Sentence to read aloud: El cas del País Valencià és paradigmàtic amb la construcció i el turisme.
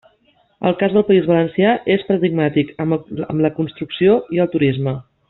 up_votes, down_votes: 0, 2